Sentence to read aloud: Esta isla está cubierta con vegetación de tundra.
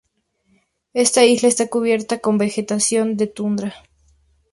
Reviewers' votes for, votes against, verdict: 2, 0, accepted